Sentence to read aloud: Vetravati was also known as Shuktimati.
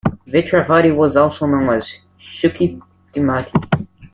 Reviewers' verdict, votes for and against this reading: rejected, 0, 2